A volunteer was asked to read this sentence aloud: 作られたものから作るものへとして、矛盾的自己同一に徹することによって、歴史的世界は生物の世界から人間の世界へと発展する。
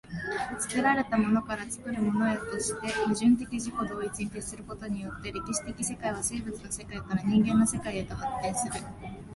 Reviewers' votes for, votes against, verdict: 2, 0, accepted